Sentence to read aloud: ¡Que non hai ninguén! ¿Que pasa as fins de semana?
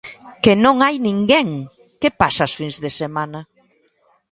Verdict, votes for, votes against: accepted, 2, 0